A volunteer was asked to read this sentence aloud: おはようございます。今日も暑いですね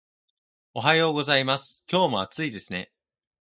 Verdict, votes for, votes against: accepted, 2, 0